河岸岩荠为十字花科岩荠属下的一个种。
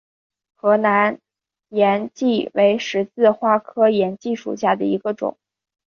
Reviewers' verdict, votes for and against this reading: rejected, 1, 2